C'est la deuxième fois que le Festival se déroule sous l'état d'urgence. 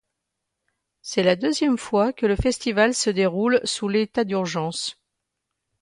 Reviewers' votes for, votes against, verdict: 2, 0, accepted